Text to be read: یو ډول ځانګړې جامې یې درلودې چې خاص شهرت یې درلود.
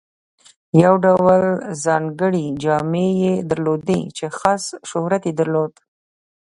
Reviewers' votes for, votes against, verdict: 0, 2, rejected